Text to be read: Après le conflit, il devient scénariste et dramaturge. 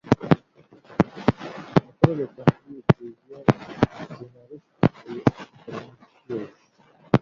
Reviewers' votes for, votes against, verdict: 0, 2, rejected